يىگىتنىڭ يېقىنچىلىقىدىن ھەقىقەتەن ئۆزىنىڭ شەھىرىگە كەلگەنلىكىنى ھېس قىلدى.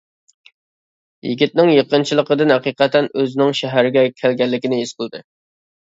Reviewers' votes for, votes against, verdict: 1, 2, rejected